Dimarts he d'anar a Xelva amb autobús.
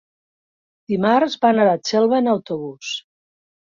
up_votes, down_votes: 1, 3